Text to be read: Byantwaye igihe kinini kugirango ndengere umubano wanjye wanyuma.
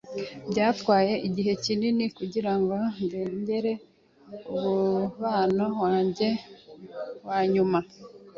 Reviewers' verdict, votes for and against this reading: rejected, 1, 3